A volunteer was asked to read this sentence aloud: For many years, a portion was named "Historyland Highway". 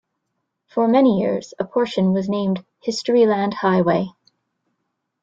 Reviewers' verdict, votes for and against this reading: accepted, 2, 1